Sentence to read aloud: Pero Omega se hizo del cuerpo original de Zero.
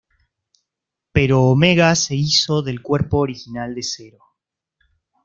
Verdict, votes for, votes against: accepted, 2, 0